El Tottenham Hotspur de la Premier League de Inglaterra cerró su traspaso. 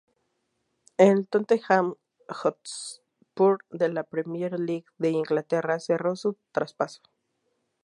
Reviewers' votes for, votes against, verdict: 2, 2, rejected